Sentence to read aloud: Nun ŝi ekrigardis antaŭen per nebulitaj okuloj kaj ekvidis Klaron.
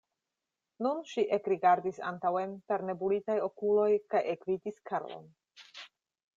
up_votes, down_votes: 1, 2